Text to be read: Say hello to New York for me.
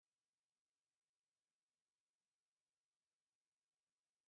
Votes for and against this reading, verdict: 1, 3, rejected